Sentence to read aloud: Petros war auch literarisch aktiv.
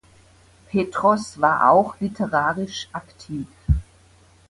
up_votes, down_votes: 2, 0